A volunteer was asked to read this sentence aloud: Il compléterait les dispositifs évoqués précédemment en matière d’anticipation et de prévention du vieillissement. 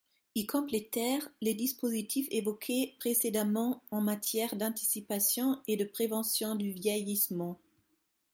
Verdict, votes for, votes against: rejected, 0, 3